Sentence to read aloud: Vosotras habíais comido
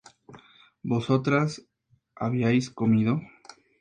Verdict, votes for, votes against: accepted, 2, 0